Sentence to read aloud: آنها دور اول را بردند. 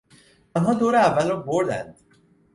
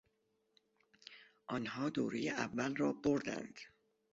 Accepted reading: first